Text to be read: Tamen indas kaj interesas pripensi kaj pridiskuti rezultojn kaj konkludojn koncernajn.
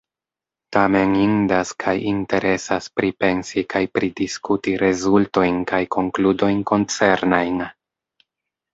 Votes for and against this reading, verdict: 3, 0, accepted